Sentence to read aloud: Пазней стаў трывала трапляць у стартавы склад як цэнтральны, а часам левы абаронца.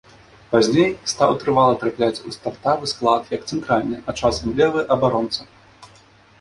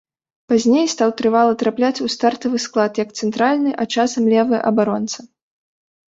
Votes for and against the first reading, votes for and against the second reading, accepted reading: 1, 2, 2, 0, second